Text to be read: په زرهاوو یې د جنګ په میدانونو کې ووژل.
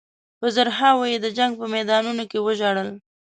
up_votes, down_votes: 1, 2